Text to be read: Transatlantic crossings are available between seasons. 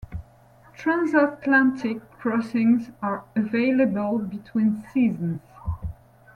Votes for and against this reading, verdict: 2, 0, accepted